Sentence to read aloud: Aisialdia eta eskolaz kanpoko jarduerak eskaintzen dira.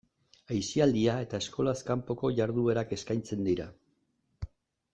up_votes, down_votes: 2, 0